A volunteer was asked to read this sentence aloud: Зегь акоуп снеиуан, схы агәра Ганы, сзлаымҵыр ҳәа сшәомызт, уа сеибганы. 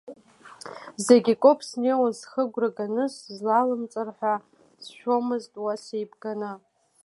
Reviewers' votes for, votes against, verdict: 2, 0, accepted